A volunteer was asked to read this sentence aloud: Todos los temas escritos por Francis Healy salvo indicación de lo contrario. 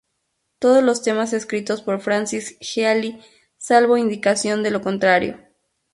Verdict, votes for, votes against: rejected, 0, 2